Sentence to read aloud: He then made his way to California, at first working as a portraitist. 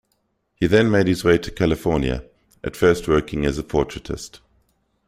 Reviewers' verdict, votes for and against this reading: accepted, 2, 0